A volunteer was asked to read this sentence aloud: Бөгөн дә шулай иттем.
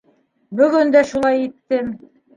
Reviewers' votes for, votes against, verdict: 2, 0, accepted